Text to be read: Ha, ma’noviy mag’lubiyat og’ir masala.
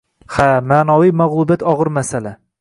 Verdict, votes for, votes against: rejected, 1, 2